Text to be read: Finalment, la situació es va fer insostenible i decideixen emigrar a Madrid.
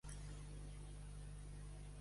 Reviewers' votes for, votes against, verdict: 0, 2, rejected